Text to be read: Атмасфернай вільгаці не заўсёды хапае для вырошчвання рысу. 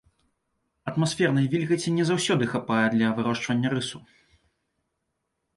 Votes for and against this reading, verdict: 2, 0, accepted